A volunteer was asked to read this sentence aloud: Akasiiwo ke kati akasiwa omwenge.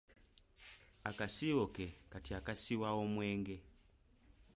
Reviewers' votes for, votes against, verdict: 2, 0, accepted